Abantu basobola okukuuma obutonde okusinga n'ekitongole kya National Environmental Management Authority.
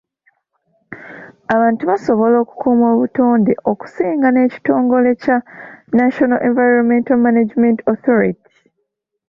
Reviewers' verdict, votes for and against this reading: accepted, 2, 0